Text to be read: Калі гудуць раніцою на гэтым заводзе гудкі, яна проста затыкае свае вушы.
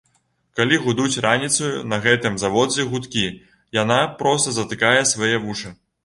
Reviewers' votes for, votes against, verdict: 1, 2, rejected